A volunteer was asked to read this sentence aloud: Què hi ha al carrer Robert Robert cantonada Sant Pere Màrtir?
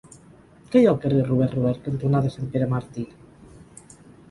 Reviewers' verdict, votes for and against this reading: rejected, 2, 4